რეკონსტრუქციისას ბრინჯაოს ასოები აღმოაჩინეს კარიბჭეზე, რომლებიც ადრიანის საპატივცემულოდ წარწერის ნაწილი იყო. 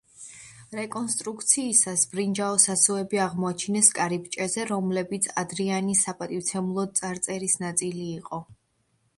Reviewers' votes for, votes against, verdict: 2, 0, accepted